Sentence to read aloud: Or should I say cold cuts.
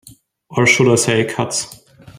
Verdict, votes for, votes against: rejected, 0, 3